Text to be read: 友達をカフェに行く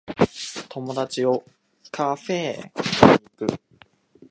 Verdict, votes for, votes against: accepted, 2, 0